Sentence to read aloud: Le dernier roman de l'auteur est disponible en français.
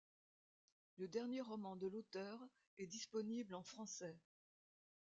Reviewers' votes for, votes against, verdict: 2, 0, accepted